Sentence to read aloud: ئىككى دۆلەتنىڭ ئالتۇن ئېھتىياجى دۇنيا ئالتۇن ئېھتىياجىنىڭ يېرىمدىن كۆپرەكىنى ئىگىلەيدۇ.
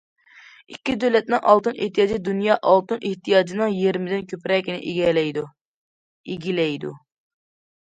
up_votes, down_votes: 0, 2